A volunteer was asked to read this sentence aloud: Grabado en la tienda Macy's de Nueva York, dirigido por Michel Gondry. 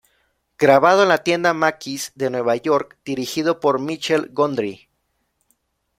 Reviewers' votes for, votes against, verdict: 2, 0, accepted